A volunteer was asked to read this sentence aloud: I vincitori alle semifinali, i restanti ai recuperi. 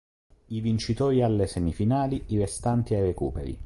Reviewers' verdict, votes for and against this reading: accepted, 2, 0